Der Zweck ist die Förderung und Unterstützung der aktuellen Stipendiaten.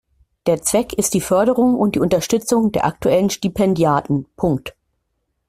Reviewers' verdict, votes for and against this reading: rejected, 0, 2